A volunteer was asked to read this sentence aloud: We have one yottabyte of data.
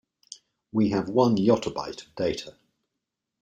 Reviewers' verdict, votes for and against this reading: accepted, 2, 0